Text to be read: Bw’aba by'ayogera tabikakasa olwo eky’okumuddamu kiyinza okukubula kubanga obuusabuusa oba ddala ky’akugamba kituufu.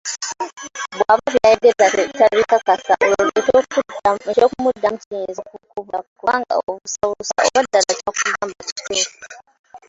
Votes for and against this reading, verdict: 1, 2, rejected